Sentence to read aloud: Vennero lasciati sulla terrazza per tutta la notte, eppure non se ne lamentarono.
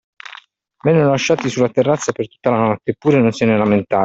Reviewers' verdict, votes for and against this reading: rejected, 1, 2